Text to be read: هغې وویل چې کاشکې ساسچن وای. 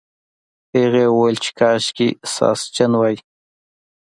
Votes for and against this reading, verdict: 2, 0, accepted